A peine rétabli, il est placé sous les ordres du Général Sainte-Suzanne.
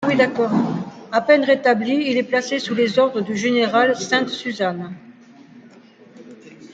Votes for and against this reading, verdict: 0, 2, rejected